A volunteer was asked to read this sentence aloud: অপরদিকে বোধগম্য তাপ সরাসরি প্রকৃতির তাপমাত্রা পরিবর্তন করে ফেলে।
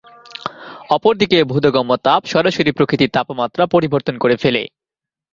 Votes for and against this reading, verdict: 1, 2, rejected